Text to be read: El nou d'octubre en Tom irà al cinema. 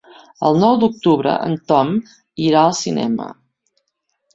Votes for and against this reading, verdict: 3, 0, accepted